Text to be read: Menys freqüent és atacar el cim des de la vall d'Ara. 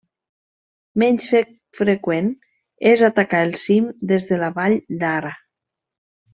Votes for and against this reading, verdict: 1, 2, rejected